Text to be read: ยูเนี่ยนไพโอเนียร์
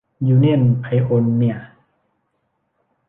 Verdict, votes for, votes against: accepted, 2, 0